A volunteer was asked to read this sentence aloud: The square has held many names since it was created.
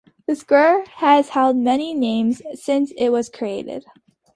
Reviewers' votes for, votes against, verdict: 2, 0, accepted